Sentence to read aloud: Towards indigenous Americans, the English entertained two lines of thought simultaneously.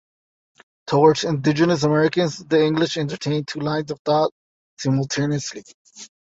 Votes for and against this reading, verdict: 1, 2, rejected